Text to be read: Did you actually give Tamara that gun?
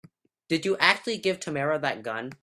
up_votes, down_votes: 4, 0